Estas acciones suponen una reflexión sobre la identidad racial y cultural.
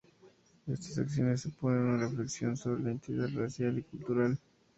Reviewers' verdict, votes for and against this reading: rejected, 0, 2